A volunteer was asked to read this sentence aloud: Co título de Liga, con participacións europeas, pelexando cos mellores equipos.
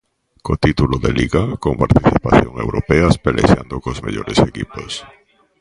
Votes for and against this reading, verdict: 0, 2, rejected